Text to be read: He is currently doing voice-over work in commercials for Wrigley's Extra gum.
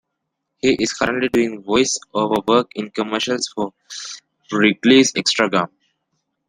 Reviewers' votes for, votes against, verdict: 1, 2, rejected